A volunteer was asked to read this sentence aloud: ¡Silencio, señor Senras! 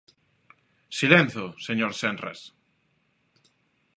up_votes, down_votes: 3, 2